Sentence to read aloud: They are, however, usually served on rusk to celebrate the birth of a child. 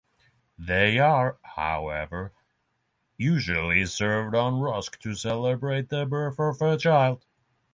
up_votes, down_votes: 6, 0